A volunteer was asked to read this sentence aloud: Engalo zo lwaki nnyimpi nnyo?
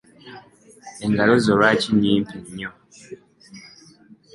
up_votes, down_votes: 2, 1